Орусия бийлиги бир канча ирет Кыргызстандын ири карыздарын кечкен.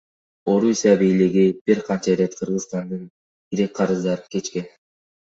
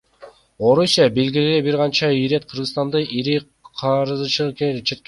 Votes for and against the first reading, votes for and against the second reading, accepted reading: 2, 0, 2, 3, first